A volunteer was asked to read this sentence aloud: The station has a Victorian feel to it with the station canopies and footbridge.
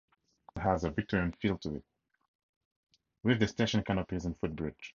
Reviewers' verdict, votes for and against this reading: rejected, 0, 4